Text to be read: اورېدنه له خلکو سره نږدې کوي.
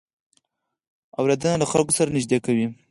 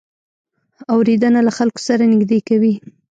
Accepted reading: second